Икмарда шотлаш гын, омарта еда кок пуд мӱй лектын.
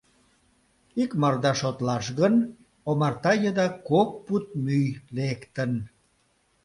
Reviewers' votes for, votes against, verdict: 2, 0, accepted